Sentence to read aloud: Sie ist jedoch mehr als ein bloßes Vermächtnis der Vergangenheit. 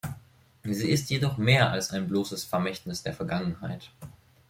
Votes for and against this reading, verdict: 2, 0, accepted